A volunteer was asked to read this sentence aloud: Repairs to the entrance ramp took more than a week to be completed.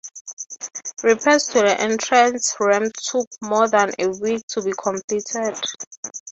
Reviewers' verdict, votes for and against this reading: rejected, 0, 3